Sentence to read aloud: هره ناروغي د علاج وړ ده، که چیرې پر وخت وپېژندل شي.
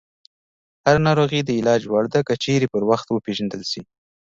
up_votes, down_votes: 2, 1